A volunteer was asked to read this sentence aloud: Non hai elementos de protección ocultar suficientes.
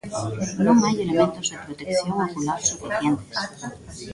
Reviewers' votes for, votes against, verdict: 1, 2, rejected